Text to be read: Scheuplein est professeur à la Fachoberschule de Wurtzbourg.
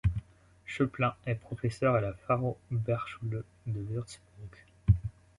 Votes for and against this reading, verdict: 1, 2, rejected